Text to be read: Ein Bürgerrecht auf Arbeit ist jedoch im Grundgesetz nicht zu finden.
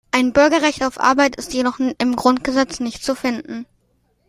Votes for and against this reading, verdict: 2, 0, accepted